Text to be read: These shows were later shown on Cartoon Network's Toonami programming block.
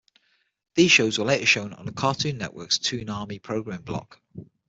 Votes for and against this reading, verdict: 0, 6, rejected